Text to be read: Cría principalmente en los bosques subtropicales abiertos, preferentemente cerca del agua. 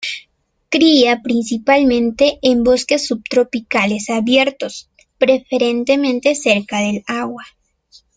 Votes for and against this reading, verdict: 0, 2, rejected